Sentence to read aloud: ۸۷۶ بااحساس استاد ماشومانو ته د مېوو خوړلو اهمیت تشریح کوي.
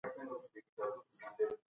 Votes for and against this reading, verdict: 0, 2, rejected